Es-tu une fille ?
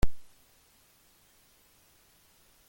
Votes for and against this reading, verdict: 0, 2, rejected